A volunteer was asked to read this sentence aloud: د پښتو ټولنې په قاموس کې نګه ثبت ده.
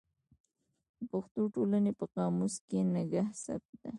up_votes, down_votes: 1, 2